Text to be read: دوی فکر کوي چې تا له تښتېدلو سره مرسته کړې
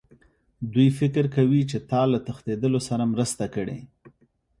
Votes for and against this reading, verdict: 2, 0, accepted